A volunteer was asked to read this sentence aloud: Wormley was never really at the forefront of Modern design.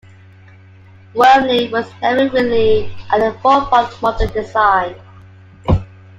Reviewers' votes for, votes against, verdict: 2, 1, accepted